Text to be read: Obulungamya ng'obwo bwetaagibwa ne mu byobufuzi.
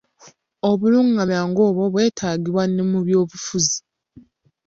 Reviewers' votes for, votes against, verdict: 1, 2, rejected